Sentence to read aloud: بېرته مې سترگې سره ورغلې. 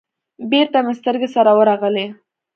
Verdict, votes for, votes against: accepted, 2, 0